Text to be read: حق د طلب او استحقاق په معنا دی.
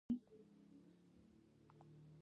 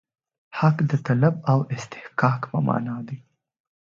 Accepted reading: second